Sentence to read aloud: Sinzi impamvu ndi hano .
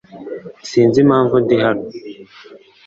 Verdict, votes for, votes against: accepted, 2, 0